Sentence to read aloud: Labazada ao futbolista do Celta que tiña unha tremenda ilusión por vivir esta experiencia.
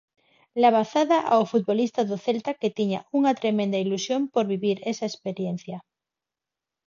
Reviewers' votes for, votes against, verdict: 0, 4, rejected